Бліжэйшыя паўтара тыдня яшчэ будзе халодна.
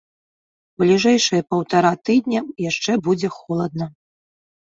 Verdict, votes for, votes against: rejected, 0, 2